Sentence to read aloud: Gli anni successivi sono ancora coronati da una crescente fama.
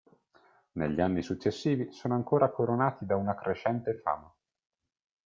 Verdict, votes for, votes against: rejected, 1, 2